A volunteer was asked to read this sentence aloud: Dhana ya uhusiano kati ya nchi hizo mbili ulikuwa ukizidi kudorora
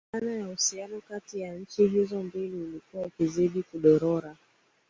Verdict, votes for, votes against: accepted, 2, 1